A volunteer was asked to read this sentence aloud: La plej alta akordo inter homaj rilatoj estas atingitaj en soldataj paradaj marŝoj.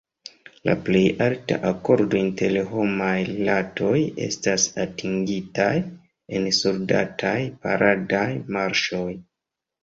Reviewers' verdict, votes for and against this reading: rejected, 1, 2